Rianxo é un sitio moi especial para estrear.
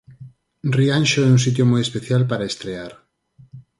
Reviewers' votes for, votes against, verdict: 4, 0, accepted